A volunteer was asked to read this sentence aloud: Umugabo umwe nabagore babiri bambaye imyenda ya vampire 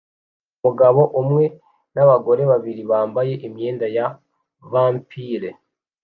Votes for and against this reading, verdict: 2, 0, accepted